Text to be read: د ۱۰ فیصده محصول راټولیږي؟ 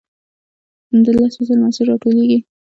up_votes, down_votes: 0, 2